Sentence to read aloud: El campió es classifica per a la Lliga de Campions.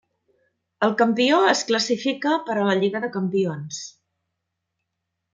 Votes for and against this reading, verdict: 3, 0, accepted